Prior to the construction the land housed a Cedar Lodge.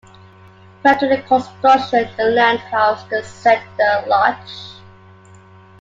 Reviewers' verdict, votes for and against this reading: rejected, 0, 2